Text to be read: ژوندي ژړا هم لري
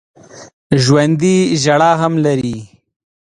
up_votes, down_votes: 2, 0